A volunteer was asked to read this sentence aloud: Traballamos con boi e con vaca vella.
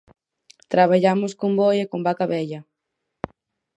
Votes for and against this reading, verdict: 4, 0, accepted